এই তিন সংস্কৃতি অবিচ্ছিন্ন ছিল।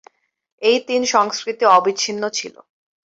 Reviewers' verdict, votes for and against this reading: accepted, 4, 0